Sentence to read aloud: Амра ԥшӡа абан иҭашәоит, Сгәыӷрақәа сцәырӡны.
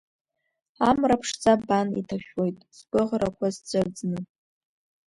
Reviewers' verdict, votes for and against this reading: rejected, 0, 2